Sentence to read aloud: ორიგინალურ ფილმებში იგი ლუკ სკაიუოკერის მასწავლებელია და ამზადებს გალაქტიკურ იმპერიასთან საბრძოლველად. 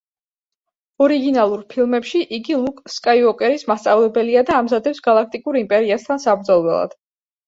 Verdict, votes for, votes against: accepted, 3, 0